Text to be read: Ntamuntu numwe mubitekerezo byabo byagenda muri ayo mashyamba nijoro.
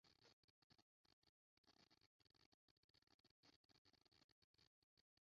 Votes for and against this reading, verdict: 0, 2, rejected